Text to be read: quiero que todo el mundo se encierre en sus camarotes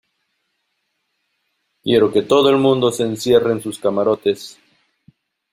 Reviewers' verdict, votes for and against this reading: accepted, 2, 0